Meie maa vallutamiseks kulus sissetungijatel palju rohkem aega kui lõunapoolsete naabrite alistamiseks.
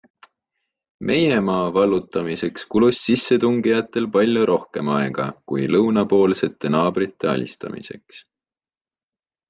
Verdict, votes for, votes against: accepted, 2, 0